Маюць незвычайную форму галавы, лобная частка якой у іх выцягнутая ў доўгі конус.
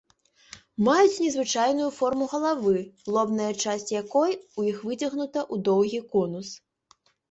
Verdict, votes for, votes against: rejected, 0, 2